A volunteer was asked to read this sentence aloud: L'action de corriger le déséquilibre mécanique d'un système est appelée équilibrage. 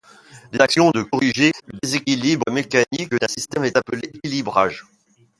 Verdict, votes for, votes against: rejected, 1, 2